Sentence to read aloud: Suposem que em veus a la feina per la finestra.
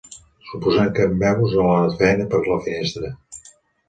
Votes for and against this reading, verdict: 0, 2, rejected